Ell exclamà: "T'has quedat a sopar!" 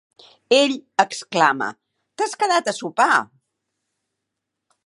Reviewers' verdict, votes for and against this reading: rejected, 0, 3